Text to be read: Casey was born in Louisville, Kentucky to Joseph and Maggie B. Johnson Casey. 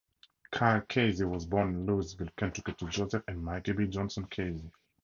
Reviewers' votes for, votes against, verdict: 0, 2, rejected